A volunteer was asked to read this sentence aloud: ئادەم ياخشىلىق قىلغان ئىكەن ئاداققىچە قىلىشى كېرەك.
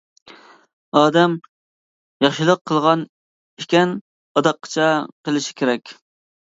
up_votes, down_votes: 2, 0